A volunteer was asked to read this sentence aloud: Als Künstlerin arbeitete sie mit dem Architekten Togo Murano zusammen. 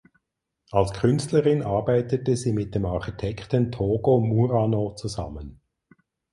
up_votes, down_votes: 4, 0